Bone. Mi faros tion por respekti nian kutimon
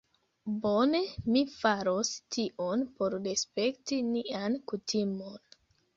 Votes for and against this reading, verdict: 2, 1, accepted